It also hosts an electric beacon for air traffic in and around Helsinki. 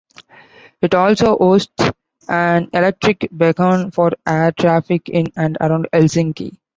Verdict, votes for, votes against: accepted, 2, 0